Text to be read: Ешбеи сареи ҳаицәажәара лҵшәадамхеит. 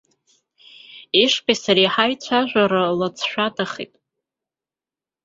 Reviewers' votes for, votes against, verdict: 1, 2, rejected